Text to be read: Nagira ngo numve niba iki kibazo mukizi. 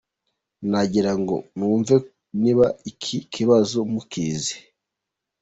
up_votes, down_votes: 2, 1